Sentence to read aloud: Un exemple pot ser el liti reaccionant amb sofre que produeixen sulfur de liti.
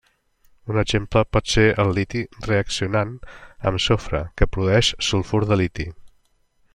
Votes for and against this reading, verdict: 1, 2, rejected